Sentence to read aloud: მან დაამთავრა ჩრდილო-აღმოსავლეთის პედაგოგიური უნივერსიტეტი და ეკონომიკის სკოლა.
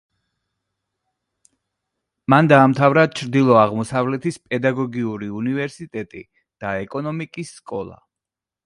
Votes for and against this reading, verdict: 2, 0, accepted